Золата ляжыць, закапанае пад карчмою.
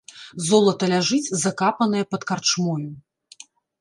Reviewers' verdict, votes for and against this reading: rejected, 0, 2